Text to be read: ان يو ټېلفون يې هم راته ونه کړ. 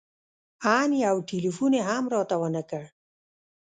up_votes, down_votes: 1, 2